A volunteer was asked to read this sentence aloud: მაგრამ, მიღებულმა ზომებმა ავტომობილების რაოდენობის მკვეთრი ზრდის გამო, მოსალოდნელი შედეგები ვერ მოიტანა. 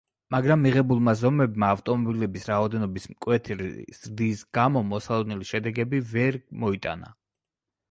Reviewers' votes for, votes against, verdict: 2, 1, accepted